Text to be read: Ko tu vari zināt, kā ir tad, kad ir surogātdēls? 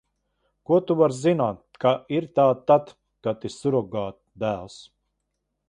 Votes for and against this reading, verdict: 0, 2, rejected